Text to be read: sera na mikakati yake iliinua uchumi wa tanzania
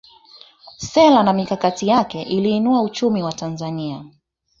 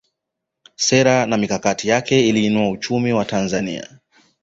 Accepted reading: second